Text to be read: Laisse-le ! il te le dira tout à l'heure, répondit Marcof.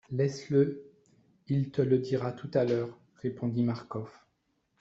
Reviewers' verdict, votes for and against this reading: accepted, 2, 0